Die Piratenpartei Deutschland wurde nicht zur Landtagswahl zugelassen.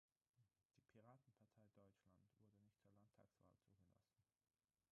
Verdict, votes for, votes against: rejected, 0, 6